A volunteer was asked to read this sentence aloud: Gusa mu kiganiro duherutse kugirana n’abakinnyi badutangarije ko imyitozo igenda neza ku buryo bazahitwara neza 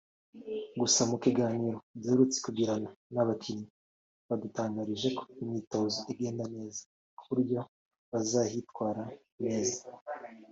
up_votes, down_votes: 2, 1